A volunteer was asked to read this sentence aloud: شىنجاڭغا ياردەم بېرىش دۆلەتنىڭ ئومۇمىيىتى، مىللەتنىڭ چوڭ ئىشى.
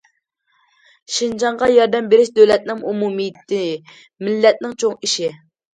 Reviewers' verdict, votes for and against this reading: accepted, 2, 0